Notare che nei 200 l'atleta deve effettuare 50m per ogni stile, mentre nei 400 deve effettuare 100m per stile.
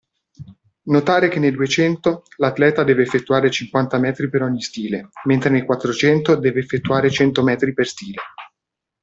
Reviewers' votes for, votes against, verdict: 0, 2, rejected